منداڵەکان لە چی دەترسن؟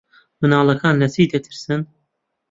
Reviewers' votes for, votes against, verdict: 1, 2, rejected